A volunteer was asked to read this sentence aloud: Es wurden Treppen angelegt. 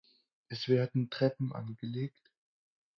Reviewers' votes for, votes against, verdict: 0, 4, rejected